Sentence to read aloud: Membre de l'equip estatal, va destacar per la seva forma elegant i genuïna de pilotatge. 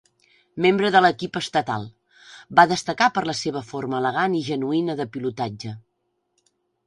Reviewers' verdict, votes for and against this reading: accepted, 4, 1